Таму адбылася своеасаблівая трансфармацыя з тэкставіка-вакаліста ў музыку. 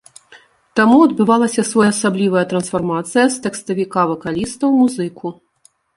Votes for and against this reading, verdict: 1, 2, rejected